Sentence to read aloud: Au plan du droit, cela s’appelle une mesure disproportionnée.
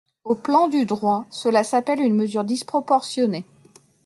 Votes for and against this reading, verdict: 2, 0, accepted